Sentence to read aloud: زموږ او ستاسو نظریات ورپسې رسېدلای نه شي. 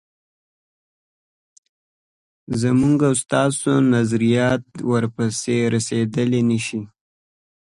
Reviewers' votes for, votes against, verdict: 2, 1, accepted